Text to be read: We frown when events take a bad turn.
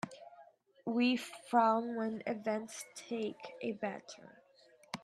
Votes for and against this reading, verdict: 2, 0, accepted